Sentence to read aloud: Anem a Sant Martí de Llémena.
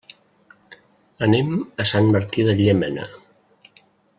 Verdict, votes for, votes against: accepted, 3, 0